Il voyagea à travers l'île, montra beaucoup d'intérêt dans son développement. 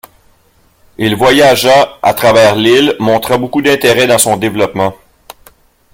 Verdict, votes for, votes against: accepted, 2, 0